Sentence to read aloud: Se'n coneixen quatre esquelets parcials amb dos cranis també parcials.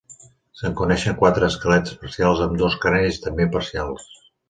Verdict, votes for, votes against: accepted, 2, 1